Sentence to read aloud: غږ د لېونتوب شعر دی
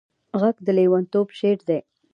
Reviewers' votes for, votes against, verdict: 2, 0, accepted